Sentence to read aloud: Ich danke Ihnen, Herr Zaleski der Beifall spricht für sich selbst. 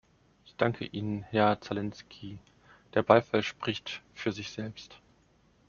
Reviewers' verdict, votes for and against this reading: rejected, 1, 2